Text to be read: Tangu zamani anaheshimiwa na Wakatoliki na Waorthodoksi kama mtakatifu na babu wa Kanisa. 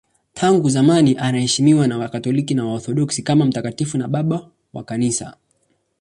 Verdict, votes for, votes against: accepted, 2, 1